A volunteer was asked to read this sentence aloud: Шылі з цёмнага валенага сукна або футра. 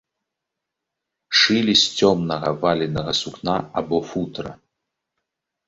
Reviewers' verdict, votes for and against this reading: accepted, 2, 0